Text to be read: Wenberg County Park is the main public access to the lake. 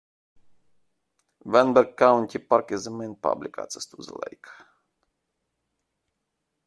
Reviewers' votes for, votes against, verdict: 2, 1, accepted